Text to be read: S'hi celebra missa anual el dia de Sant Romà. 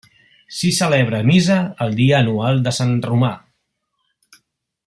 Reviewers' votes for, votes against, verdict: 1, 2, rejected